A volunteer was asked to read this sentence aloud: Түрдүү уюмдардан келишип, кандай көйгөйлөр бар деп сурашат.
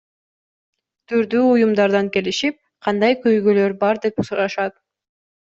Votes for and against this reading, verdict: 2, 0, accepted